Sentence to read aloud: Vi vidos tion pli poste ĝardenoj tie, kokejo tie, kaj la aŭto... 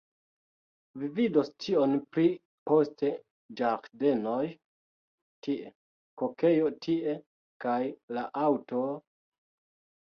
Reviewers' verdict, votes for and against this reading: rejected, 0, 2